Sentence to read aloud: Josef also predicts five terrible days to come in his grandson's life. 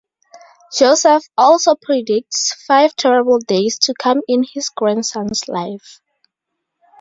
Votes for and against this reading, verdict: 4, 0, accepted